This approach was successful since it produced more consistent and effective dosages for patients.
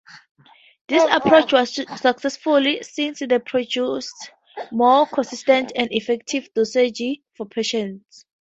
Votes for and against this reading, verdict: 4, 0, accepted